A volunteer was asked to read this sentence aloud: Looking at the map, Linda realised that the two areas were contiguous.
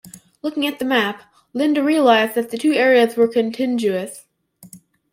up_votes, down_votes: 1, 2